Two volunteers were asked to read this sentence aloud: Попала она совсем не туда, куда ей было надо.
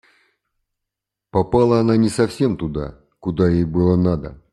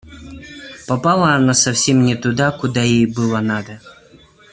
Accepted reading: second